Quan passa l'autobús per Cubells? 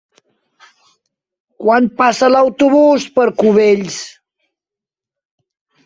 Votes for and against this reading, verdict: 4, 0, accepted